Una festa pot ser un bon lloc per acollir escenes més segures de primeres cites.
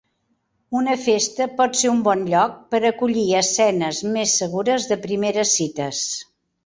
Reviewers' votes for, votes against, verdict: 3, 0, accepted